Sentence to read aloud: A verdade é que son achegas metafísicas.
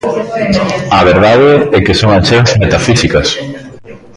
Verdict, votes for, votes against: rejected, 1, 2